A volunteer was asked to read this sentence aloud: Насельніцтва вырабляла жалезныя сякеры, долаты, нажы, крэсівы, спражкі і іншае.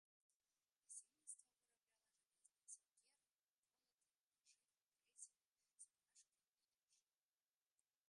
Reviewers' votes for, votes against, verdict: 0, 2, rejected